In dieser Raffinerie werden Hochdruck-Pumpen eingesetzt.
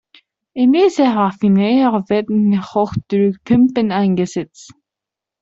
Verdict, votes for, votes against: rejected, 0, 2